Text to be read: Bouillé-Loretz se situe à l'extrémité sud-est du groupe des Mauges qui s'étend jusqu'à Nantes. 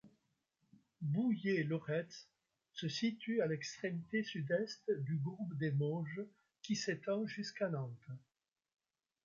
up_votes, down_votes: 2, 0